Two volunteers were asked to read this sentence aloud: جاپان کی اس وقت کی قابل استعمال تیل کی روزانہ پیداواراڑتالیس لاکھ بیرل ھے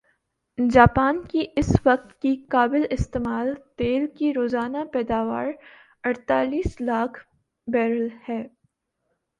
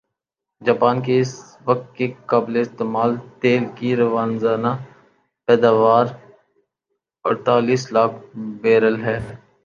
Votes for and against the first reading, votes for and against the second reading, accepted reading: 2, 0, 0, 6, first